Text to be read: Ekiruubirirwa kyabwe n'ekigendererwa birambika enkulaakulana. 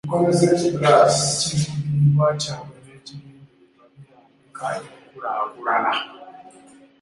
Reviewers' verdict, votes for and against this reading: rejected, 0, 2